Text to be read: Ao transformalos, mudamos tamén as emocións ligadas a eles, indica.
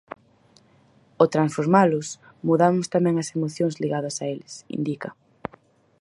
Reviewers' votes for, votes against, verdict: 4, 0, accepted